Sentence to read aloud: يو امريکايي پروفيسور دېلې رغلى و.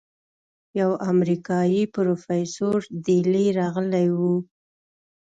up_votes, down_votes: 2, 0